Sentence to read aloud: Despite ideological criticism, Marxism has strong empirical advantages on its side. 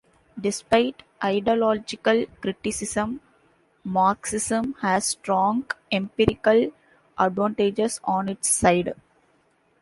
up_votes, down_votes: 2, 0